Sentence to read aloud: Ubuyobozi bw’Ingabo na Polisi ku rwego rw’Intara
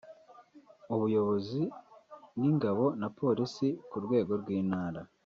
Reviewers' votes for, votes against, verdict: 3, 1, accepted